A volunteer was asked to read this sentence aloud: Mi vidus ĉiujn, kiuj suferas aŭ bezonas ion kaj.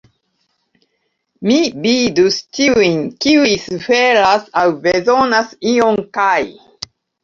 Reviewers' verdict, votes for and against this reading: accepted, 2, 0